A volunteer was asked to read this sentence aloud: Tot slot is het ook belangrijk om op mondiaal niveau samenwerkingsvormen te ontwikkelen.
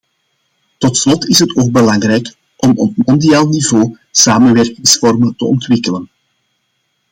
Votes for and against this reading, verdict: 2, 0, accepted